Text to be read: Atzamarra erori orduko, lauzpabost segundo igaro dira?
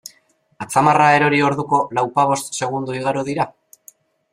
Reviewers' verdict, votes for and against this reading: accepted, 2, 0